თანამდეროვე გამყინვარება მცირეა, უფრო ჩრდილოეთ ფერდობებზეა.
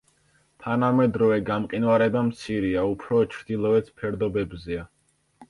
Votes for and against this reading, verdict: 2, 0, accepted